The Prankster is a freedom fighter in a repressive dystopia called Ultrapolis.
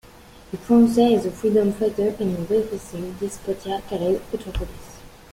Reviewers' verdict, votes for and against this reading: rejected, 0, 2